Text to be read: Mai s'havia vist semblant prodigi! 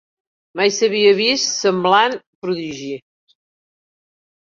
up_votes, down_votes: 2, 0